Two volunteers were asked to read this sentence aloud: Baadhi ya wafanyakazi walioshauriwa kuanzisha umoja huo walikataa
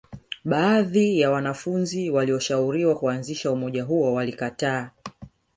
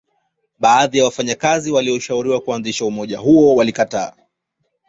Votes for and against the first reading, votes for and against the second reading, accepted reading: 2, 3, 2, 0, second